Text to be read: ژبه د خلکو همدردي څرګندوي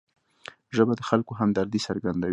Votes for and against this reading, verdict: 2, 0, accepted